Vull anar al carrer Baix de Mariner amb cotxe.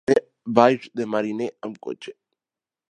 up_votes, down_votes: 1, 2